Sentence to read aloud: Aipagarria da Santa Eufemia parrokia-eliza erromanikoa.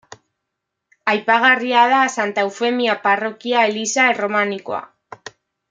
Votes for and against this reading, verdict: 2, 0, accepted